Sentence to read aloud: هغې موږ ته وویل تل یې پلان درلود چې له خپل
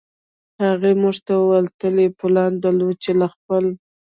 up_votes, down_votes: 2, 0